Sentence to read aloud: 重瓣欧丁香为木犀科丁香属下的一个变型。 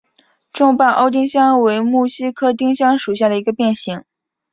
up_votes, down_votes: 4, 0